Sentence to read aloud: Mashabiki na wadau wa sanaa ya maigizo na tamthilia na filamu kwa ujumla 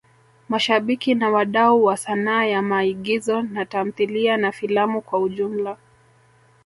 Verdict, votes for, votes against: rejected, 1, 2